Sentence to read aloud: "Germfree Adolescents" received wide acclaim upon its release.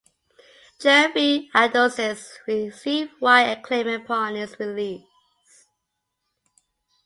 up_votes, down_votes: 2, 0